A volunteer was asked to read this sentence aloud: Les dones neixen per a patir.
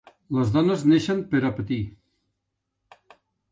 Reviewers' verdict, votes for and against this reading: accepted, 3, 0